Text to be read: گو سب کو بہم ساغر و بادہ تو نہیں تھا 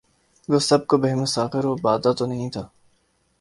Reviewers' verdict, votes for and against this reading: accepted, 2, 0